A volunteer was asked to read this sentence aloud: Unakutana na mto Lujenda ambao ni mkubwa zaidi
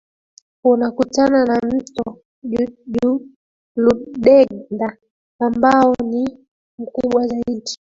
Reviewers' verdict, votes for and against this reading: rejected, 0, 2